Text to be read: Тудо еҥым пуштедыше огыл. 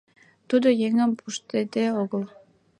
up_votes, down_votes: 0, 2